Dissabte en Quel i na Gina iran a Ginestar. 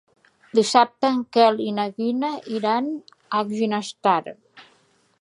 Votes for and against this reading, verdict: 0, 2, rejected